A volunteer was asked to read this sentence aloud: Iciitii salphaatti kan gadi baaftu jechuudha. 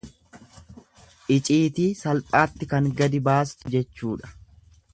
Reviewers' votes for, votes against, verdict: 1, 2, rejected